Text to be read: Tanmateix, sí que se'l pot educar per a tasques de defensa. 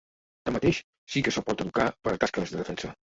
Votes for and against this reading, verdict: 1, 2, rejected